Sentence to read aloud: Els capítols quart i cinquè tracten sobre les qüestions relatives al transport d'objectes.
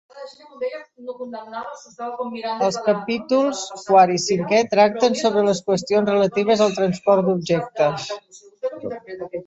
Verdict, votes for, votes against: rejected, 1, 3